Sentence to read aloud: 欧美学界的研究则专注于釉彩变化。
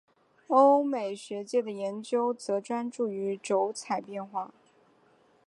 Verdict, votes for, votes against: accepted, 3, 1